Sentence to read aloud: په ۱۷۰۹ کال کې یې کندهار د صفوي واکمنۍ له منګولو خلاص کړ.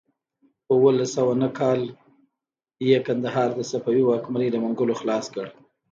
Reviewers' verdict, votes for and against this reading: rejected, 0, 2